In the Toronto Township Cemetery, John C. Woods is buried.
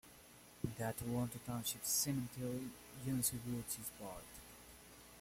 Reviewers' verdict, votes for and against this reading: accepted, 2, 0